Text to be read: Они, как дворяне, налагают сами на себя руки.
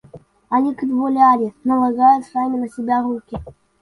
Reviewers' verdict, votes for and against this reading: rejected, 0, 2